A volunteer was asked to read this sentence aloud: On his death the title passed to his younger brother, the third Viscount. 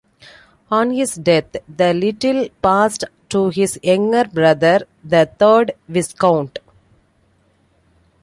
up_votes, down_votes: 0, 2